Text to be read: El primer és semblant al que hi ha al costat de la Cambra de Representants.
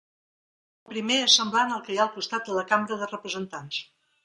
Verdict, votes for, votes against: rejected, 1, 2